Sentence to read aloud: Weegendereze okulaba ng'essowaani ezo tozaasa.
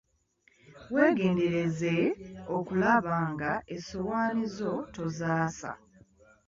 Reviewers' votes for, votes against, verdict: 0, 2, rejected